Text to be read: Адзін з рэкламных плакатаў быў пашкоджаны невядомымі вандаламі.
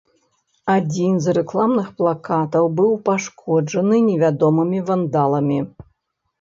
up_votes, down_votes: 2, 0